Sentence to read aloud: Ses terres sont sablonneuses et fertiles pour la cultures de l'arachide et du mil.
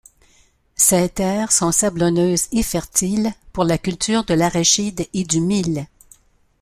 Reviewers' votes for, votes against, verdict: 2, 0, accepted